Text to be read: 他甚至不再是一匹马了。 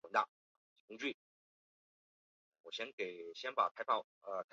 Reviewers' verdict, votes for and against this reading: rejected, 0, 2